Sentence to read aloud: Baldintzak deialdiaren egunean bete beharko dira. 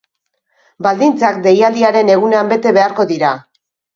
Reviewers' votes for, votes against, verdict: 3, 0, accepted